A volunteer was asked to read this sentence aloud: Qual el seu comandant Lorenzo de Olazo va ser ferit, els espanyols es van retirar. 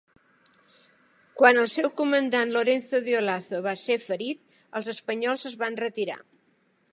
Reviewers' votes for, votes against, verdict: 2, 0, accepted